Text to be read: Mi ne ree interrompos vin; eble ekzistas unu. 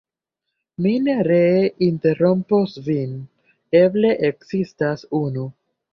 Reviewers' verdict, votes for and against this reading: accepted, 2, 1